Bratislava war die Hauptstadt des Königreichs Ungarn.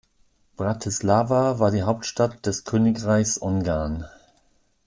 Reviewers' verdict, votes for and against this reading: accepted, 3, 0